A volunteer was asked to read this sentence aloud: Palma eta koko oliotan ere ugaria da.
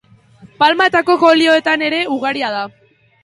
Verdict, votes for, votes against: accepted, 4, 0